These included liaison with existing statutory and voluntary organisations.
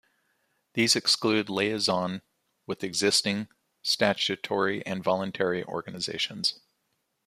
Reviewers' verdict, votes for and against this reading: rejected, 1, 2